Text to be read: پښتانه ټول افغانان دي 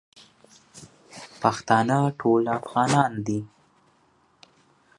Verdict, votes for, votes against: accepted, 2, 1